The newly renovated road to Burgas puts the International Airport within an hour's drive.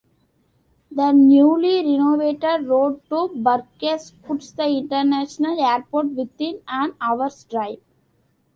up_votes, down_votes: 1, 2